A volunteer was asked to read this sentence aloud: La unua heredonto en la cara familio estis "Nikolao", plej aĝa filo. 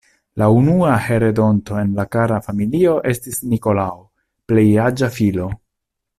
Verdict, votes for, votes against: rejected, 0, 2